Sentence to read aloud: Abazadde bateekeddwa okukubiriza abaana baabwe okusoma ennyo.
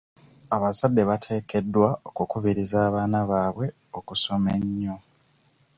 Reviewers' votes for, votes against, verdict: 2, 0, accepted